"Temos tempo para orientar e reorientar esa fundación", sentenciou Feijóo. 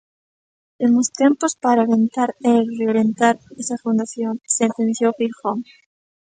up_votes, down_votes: 0, 2